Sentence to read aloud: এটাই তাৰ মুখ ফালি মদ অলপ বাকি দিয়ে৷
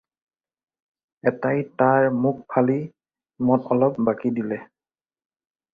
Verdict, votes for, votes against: rejected, 2, 4